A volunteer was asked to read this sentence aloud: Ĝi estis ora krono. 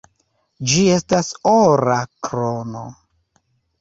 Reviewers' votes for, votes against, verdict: 1, 2, rejected